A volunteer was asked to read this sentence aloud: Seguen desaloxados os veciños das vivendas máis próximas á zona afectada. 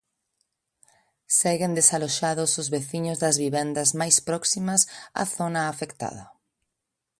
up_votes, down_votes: 2, 0